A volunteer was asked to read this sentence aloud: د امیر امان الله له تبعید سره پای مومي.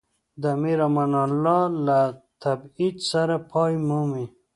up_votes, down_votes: 2, 1